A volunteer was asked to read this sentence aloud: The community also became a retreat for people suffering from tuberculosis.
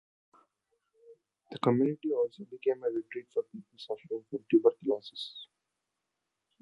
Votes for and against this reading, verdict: 1, 2, rejected